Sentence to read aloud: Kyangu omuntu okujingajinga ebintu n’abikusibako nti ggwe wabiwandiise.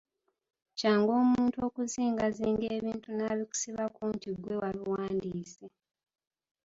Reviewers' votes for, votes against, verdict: 2, 1, accepted